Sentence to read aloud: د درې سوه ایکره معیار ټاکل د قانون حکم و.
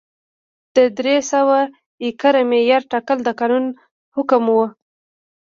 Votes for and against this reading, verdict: 1, 2, rejected